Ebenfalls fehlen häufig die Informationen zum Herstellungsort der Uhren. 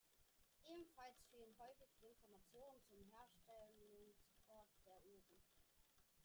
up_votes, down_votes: 0, 2